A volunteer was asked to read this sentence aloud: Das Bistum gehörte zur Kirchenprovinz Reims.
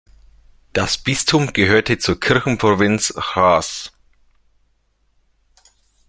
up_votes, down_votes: 2, 0